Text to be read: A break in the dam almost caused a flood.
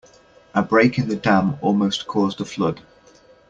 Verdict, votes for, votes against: accepted, 2, 0